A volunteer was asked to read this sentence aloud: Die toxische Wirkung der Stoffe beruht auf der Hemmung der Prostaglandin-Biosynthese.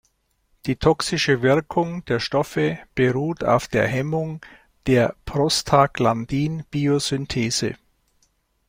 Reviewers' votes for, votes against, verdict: 2, 0, accepted